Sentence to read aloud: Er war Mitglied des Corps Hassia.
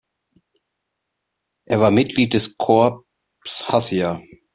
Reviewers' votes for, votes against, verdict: 1, 2, rejected